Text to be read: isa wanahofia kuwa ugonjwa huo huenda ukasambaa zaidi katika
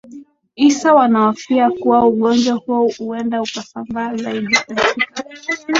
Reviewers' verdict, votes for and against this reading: rejected, 2, 4